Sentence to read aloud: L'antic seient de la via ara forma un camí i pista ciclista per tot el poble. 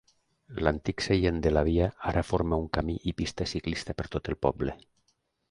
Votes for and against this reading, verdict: 2, 0, accepted